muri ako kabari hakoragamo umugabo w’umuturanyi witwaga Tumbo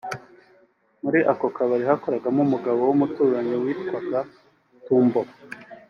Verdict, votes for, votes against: accepted, 3, 0